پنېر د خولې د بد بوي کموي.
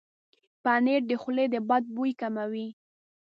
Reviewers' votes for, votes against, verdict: 0, 2, rejected